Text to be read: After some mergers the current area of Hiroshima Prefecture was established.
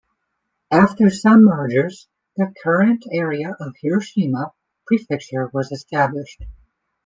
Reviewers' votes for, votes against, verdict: 2, 0, accepted